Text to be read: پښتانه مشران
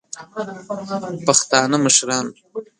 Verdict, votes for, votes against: rejected, 1, 2